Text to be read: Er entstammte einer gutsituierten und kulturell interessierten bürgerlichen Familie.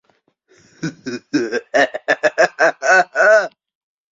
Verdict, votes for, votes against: rejected, 0, 2